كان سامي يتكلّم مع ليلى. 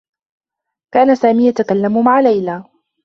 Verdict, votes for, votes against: accepted, 2, 0